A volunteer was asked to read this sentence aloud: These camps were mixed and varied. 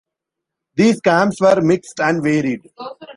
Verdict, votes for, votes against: rejected, 2, 3